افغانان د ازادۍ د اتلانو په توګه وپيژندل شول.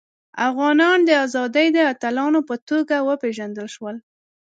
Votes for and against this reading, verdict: 2, 0, accepted